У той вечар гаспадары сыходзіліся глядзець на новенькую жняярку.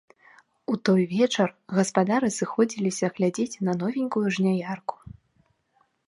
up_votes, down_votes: 0, 2